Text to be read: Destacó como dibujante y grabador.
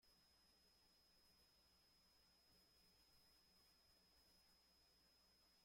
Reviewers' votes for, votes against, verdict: 0, 3, rejected